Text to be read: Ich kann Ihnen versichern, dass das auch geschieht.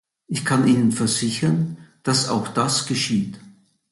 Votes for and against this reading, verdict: 0, 2, rejected